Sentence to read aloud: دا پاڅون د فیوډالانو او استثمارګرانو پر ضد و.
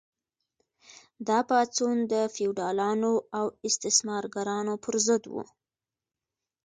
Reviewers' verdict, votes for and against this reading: accepted, 2, 0